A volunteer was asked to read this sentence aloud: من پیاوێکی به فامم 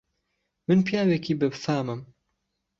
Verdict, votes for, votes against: accepted, 2, 1